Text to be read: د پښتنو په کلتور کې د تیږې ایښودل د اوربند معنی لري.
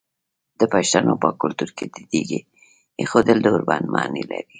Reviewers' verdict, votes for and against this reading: accepted, 2, 0